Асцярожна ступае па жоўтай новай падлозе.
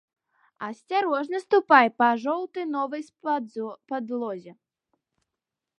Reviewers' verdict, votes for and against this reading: rejected, 1, 2